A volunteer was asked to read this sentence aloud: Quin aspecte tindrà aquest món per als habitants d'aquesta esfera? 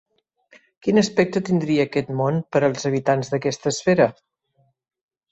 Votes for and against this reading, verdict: 1, 3, rejected